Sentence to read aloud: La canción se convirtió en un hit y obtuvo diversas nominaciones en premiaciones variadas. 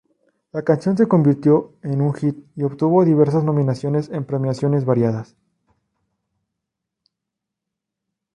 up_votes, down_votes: 2, 0